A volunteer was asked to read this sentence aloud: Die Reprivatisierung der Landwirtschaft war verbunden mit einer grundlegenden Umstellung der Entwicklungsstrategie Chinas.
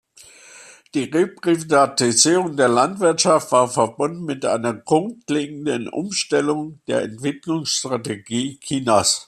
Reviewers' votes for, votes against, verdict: 0, 2, rejected